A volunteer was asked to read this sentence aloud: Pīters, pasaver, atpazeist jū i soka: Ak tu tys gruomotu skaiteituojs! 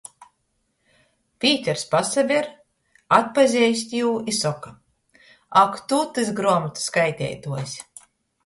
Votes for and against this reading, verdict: 2, 0, accepted